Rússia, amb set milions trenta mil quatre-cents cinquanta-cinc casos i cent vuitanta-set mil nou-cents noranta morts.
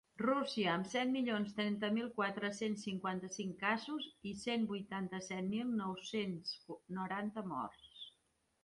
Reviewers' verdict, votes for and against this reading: rejected, 1, 2